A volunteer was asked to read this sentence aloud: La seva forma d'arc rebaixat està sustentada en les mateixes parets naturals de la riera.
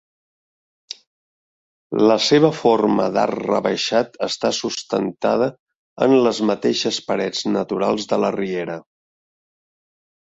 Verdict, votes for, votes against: accepted, 2, 0